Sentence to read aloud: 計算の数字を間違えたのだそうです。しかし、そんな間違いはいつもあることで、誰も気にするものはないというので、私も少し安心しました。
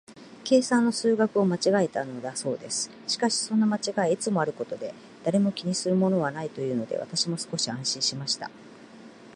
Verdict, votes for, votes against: accepted, 2, 0